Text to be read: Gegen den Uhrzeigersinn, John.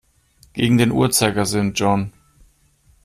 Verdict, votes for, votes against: accepted, 2, 1